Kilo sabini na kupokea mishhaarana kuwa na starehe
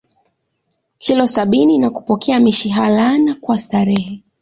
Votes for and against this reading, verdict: 0, 2, rejected